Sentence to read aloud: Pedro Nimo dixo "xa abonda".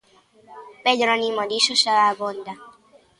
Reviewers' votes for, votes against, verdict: 2, 0, accepted